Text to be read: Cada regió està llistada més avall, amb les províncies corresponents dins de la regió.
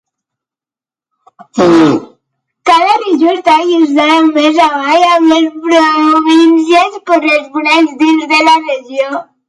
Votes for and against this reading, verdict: 0, 2, rejected